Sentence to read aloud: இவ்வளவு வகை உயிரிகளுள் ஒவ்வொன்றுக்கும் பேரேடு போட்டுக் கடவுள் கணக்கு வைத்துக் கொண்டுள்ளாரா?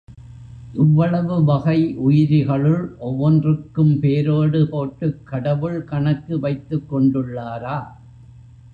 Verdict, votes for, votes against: rejected, 0, 2